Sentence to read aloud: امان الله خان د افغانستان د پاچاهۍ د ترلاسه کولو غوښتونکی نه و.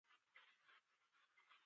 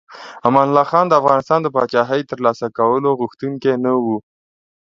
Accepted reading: second